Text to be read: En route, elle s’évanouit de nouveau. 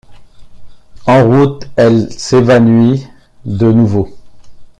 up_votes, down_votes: 1, 2